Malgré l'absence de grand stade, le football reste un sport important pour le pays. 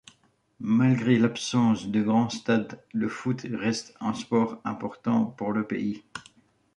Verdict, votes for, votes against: rejected, 1, 2